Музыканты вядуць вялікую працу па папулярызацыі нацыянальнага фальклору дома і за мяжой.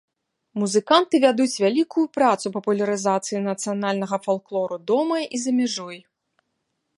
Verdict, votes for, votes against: rejected, 0, 2